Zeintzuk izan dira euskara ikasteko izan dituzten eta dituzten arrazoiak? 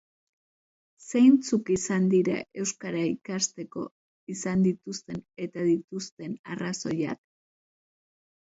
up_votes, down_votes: 2, 0